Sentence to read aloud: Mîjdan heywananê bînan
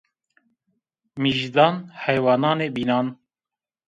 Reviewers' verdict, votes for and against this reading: accepted, 2, 0